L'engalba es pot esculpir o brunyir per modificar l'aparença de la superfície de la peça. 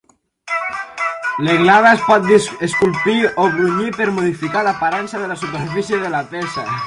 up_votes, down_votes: 2, 4